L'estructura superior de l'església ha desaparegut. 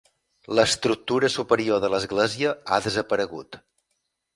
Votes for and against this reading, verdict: 4, 0, accepted